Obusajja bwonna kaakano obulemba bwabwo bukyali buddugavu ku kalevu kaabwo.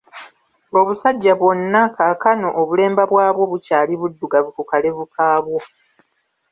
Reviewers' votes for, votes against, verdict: 1, 2, rejected